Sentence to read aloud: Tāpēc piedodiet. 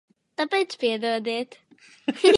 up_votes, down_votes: 1, 2